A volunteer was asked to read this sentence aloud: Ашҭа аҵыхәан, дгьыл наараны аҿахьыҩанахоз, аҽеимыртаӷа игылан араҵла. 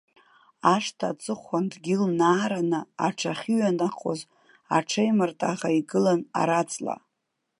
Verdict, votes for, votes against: rejected, 1, 2